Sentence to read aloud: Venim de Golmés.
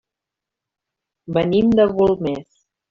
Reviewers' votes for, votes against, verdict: 0, 2, rejected